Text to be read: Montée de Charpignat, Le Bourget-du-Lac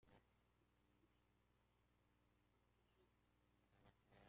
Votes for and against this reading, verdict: 0, 2, rejected